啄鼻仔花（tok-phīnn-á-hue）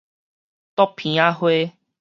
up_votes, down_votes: 4, 0